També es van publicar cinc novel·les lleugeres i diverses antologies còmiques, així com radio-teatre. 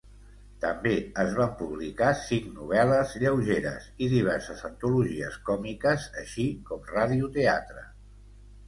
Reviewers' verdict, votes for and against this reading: accepted, 2, 0